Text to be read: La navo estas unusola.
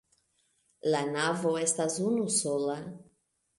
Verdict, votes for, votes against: accepted, 2, 0